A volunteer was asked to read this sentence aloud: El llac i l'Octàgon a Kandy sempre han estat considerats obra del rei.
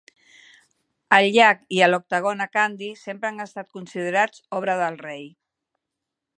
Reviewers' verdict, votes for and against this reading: rejected, 0, 2